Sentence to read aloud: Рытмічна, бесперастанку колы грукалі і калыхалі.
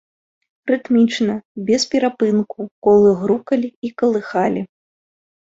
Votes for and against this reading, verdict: 0, 2, rejected